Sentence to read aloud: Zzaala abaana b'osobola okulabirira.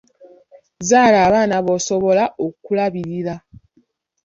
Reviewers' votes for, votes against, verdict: 2, 0, accepted